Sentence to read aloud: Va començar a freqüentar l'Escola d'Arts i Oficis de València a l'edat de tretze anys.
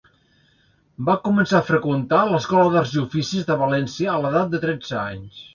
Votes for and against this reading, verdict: 2, 0, accepted